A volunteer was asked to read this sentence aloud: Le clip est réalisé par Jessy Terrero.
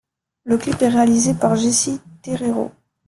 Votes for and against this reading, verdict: 0, 2, rejected